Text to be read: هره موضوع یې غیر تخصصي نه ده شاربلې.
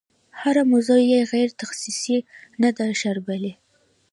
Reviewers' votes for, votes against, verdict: 2, 0, accepted